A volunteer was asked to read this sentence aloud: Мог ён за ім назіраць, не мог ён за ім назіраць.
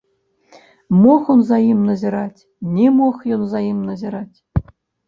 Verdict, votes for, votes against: rejected, 0, 2